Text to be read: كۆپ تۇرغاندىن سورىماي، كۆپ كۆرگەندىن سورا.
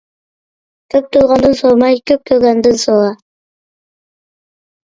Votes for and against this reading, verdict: 1, 2, rejected